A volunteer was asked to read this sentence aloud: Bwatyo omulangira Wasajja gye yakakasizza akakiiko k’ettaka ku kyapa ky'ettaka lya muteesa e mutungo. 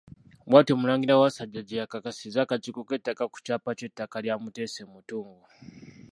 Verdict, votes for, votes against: rejected, 1, 2